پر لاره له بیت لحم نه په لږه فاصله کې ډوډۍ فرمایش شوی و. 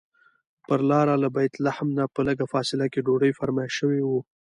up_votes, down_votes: 2, 0